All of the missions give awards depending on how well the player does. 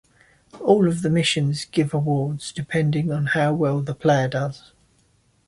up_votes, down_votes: 2, 0